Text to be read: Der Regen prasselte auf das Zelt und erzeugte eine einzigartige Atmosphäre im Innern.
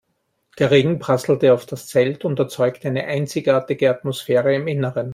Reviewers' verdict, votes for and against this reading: accepted, 2, 0